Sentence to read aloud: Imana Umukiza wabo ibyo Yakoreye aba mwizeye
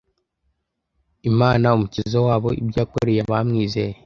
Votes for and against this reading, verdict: 2, 0, accepted